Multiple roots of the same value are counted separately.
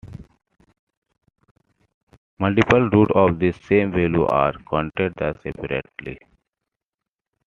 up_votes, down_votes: 0, 2